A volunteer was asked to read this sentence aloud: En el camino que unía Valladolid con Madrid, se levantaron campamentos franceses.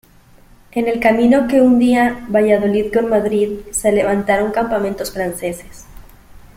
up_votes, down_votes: 2, 3